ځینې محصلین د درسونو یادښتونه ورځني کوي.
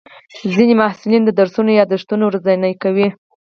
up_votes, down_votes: 2, 4